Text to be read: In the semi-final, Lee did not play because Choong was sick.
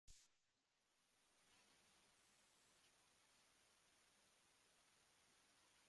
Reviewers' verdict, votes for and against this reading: rejected, 0, 2